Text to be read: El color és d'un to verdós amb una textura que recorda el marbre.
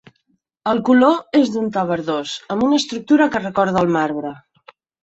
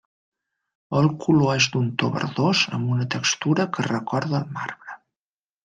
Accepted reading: second